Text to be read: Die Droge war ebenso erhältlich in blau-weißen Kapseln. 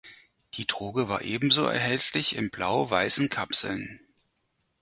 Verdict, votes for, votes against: rejected, 2, 4